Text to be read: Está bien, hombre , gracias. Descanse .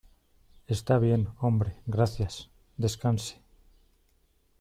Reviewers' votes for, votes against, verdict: 2, 0, accepted